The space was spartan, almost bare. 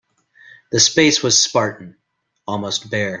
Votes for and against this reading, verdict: 2, 0, accepted